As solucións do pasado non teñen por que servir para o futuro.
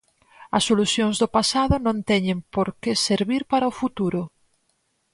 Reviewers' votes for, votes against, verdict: 4, 0, accepted